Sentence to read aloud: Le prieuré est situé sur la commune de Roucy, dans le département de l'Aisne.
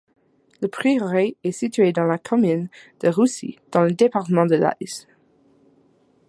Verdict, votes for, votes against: rejected, 0, 2